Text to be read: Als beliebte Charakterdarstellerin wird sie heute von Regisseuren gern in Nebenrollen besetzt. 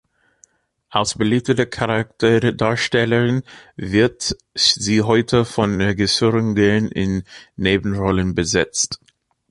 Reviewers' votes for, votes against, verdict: 0, 2, rejected